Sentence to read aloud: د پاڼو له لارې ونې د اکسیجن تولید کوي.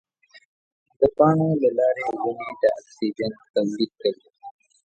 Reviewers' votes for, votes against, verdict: 1, 2, rejected